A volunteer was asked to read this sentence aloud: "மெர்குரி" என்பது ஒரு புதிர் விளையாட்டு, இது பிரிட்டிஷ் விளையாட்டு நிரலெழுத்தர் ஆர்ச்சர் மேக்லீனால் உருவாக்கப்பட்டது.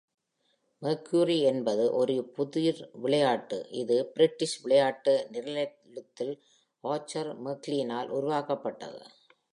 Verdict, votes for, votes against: rejected, 1, 2